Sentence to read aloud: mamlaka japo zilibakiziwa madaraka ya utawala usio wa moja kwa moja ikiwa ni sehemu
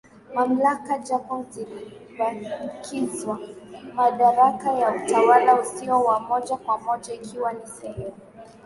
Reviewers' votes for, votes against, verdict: 2, 0, accepted